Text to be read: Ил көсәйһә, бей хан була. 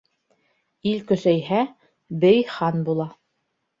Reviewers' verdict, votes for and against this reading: accepted, 2, 0